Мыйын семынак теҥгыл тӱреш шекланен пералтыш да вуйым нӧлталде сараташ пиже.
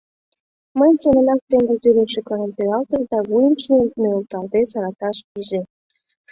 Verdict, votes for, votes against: rejected, 0, 2